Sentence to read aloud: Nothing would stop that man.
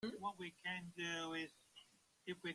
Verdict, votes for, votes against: rejected, 0, 2